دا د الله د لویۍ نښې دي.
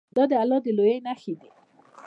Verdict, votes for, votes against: rejected, 1, 2